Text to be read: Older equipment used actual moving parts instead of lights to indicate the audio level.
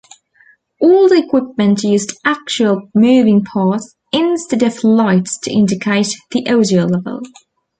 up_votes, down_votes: 0, 2